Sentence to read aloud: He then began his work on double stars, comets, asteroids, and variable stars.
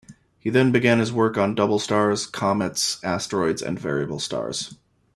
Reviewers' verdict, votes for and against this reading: accepted, 2, 0